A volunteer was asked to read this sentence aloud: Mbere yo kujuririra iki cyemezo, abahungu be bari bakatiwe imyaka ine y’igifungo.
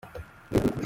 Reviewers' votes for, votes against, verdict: 0, 2, rejected